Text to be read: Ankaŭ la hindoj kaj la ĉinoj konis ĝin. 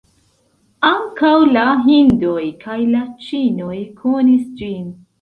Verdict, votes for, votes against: accepted, 2, 0